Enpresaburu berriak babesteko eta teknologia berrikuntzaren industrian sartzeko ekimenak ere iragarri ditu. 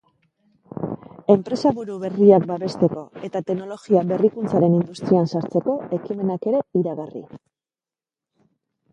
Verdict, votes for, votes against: rejected, 1, 2